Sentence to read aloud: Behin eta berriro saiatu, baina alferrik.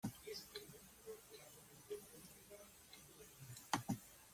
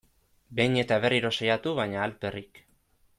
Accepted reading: second